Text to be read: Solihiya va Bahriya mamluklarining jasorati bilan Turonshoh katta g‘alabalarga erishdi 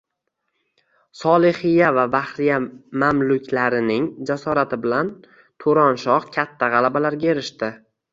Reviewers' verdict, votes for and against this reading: rejected, 1, 2